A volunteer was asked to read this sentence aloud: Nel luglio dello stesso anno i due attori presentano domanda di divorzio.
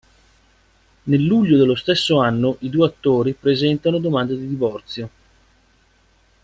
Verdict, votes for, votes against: accepted, 2, 0